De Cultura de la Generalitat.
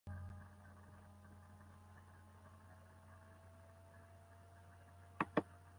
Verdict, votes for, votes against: rejected, 0, 2